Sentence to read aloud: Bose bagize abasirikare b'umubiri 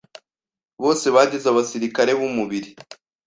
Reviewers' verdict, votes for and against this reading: accepted, 2, 0